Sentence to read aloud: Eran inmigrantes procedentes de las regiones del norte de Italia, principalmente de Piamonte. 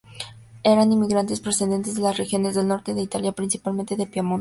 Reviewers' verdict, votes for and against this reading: accepted, 2, 0